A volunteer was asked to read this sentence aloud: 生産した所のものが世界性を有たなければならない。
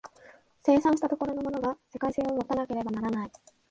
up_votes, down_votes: 0, 2